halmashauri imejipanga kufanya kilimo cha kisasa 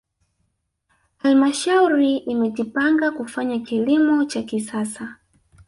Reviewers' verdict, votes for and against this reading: accepted, 2, 1